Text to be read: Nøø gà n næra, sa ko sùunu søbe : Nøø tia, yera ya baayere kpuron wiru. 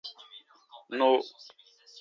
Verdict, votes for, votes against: rejected, 0, 2